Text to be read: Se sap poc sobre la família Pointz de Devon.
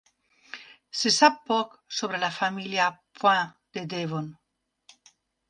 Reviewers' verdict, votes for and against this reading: rejected, 1, 2